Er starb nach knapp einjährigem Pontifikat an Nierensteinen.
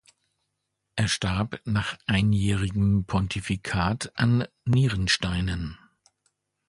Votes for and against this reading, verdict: 0, 2, rejected